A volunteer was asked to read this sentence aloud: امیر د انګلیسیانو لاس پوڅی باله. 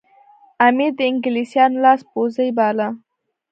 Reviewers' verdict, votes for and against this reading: accepted, 3, 2